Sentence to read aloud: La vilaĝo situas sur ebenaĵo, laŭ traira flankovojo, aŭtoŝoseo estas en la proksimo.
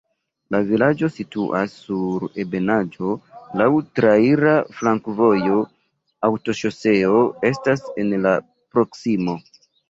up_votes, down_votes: 1, 2